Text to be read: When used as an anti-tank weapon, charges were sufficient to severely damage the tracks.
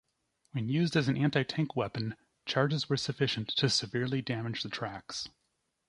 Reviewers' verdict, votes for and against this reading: accepted, 2, 0